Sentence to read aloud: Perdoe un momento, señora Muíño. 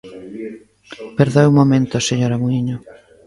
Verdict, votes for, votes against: accepted, 2, 1